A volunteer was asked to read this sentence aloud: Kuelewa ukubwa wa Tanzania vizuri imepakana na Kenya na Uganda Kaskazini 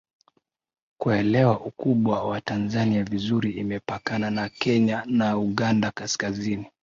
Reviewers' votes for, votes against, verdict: 3, 0, accepted